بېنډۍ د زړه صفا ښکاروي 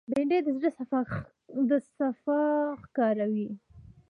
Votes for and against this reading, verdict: 0, 2, rejected